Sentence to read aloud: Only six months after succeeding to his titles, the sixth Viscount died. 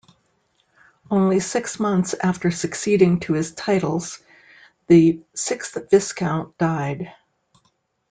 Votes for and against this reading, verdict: 0, 2, rejected